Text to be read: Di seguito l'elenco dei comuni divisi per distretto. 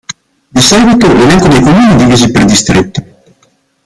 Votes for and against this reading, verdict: 0, 2, rejected